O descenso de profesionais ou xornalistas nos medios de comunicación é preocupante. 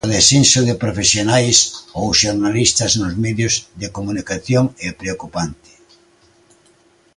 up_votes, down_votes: 2, 0